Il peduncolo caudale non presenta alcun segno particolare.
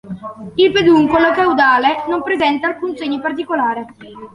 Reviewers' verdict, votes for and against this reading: accepted, 2, 1